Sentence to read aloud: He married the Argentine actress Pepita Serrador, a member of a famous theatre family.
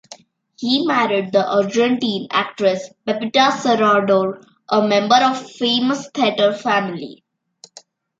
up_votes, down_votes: 0, 2